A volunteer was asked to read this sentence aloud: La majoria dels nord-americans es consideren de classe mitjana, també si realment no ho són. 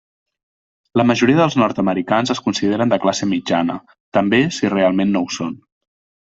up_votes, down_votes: 3, 0